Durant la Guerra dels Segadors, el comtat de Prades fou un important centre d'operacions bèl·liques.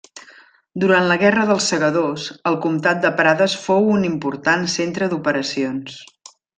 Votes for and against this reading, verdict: 0, 2, rejected